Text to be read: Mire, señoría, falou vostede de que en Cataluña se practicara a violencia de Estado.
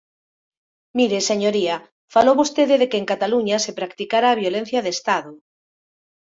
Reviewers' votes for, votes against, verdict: 2, 0, accepted